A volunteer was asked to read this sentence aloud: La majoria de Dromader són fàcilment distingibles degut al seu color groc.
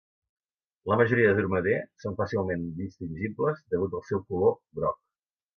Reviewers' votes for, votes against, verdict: 2, 0, accepted